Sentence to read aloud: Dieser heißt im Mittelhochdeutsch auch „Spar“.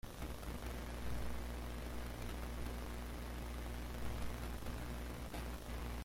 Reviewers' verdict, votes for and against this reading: rejected, 0, 2